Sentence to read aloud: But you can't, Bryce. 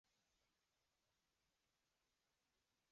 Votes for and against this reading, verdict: 0, 3, rejected